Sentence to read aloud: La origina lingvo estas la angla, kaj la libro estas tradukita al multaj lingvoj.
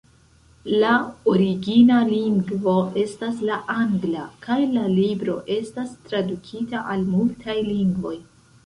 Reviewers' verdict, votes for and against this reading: rejected, 0, 2